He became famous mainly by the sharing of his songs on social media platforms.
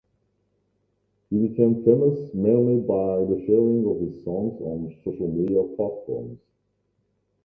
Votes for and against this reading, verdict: 0, 2, rejected